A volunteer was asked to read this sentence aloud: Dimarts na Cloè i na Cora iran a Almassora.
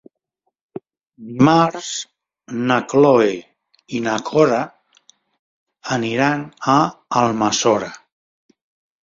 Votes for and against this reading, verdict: 0, 3, rejected